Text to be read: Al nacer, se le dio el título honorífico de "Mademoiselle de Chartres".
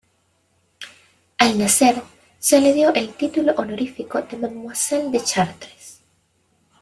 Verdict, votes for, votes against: rejected, 0, 2